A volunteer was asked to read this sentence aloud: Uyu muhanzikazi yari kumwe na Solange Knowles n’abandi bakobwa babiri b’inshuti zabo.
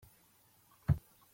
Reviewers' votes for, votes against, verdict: 0, 2, rejected